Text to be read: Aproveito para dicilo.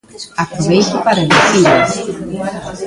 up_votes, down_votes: 0, 2